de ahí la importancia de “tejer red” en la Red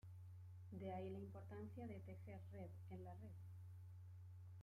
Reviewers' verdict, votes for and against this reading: accepted, 2, 1